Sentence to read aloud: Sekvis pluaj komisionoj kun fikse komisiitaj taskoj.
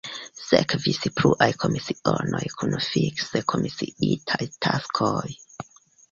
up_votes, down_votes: 1, 2